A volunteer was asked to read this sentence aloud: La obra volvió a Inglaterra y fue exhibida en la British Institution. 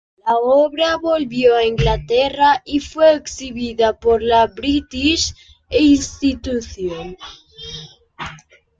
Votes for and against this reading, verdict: 1, 2, rejected